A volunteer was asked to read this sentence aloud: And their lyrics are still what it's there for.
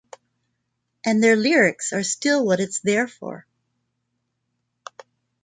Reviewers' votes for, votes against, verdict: 2, 0, accepted